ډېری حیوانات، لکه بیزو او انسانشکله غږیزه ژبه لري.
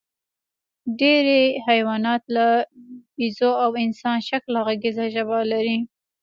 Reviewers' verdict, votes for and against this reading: rejected, 1, 2